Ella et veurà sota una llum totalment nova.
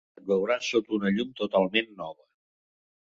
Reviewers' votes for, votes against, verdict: 1, 2, rejected